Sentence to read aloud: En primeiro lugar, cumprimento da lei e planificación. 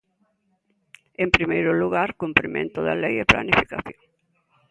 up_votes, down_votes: 2, 0